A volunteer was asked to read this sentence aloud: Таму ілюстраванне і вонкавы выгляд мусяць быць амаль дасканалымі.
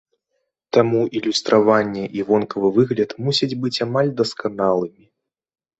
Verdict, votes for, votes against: accepted, 2, 0